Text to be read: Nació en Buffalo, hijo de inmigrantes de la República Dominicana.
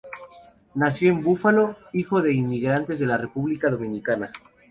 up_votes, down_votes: 2, 0